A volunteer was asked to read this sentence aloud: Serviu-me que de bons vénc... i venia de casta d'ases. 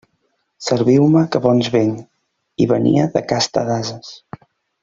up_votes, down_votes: 0, 2